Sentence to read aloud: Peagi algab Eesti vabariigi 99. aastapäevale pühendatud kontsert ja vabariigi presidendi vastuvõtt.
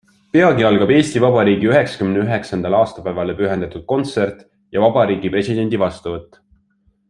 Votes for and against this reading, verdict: 0, 2, rejected